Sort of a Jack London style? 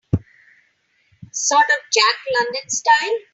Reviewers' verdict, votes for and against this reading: rejected, 0, 2